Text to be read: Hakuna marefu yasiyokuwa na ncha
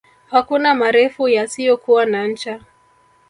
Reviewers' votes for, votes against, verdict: 0, 2, rejected